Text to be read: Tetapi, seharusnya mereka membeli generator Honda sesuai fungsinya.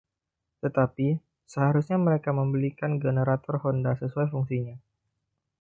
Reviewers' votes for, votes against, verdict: 1, 2, rejected